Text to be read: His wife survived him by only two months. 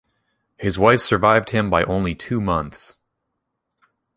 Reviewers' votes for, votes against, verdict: 2, 0, accepted